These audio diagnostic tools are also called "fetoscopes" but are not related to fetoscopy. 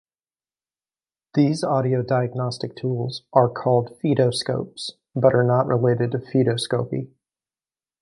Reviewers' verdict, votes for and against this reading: rejected, 1, 2